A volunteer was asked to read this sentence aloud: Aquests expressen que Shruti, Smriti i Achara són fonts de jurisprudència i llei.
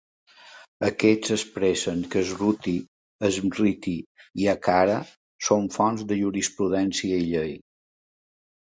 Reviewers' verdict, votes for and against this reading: accepted, 2, 0